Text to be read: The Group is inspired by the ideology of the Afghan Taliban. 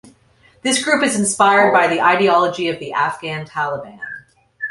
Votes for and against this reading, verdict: 1, 2, rejected